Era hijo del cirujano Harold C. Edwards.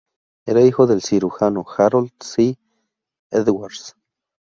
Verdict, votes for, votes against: accepted, 2, 0